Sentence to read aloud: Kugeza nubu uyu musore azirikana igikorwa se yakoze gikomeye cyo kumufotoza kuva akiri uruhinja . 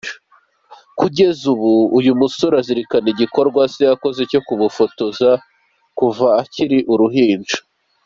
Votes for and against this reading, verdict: 2, 0, accepted